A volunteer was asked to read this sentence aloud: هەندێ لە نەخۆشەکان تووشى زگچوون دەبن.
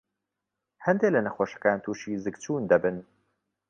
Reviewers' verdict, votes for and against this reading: accepted, 2, 0